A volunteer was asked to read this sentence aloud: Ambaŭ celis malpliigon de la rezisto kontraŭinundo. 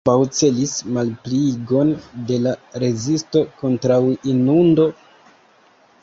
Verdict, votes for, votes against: rejected, 0, 2